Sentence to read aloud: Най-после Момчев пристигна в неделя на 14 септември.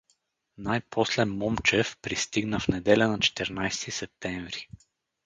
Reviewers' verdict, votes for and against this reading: rejected, 0, 2